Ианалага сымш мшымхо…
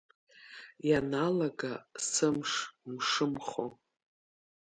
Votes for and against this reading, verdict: 2, 0, accepted